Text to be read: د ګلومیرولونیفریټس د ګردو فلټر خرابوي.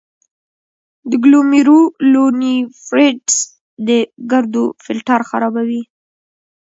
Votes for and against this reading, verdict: 0, 2, rejected